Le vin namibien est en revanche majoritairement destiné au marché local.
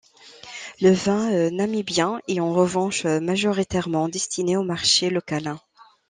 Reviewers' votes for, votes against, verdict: 1, 2, rejected